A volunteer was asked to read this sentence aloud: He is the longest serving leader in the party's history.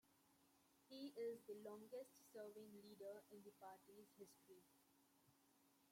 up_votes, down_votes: 0, 2